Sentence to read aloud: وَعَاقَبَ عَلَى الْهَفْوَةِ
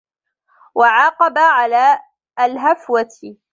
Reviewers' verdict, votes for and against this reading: rejected, 1, 2